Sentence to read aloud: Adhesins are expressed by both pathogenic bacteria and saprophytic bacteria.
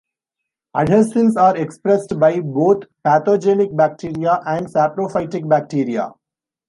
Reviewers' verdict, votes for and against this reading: accepted, 2, 0